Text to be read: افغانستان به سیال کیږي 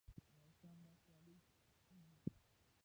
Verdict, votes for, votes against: rejected, 1, 2